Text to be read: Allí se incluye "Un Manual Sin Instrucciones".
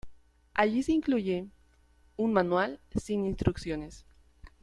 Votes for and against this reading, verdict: 3, 0, accepted